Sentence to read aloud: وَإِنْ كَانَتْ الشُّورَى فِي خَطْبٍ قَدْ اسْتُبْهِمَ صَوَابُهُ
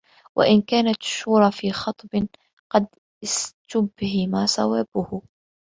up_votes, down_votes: 1, 2